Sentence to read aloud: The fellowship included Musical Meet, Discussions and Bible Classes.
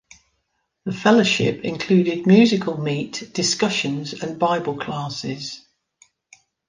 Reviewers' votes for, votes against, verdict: 2, 0, accepted